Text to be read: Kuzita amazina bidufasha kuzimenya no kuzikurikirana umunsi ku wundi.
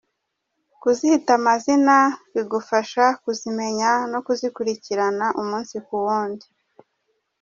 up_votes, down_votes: 0, 2